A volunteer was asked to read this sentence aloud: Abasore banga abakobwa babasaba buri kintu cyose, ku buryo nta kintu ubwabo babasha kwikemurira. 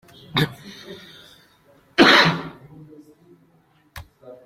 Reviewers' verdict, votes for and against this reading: rejected, 0, 2